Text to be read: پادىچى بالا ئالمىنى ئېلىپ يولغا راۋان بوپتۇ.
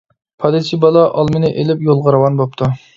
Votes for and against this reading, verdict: 2, 0, accepted